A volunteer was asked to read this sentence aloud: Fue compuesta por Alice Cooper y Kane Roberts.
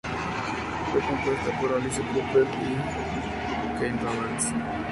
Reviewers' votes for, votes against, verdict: 4, 0, accepted